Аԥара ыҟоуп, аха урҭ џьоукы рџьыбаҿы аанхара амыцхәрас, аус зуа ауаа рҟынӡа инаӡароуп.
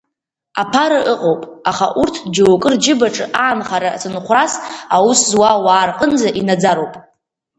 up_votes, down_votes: 1, 2